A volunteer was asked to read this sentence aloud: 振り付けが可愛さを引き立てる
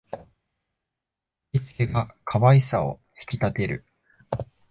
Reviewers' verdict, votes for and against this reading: accepted, 2, 0